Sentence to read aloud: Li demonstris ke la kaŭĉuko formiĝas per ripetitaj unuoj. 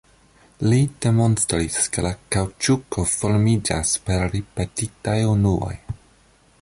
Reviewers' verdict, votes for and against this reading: accepted, 2, 1